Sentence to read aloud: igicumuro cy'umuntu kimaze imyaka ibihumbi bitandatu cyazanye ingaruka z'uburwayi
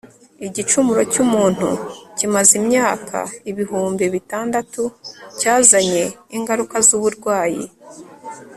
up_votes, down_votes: 1, 2